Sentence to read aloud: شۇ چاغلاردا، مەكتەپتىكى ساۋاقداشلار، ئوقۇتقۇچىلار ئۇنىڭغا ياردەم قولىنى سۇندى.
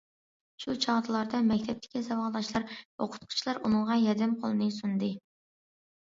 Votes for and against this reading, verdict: 2, 1, accepted